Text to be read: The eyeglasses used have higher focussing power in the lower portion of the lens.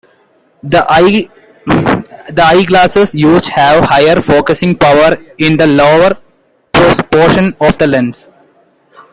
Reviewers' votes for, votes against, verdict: 2, 1, accepted